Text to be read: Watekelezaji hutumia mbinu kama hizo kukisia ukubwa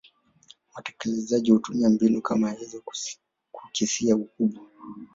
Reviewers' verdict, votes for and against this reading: rejected, 1, 2